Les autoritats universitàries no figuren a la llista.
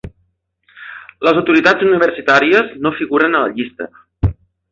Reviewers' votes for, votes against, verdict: 2, 0, accepted